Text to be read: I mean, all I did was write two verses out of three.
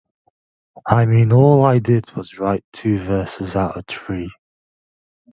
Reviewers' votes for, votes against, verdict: 2, 0, accepted